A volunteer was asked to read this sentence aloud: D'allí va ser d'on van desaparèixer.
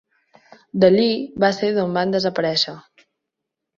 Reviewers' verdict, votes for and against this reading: accepted, 4, 0